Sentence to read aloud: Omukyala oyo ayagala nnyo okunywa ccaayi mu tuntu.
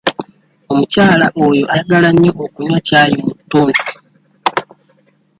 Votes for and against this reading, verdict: 2, 0, accepted